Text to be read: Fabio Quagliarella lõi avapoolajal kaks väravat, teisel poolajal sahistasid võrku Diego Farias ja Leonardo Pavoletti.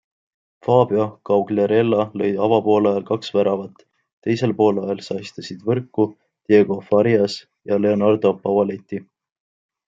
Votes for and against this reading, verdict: 2, 0, accepted